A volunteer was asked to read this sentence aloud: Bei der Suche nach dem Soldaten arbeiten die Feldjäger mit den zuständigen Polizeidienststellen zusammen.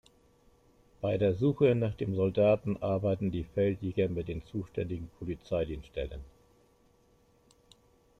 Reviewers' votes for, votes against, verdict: 0, 2, rejected